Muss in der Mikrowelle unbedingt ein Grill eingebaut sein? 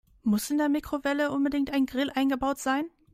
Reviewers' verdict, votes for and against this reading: accepted, 2, 0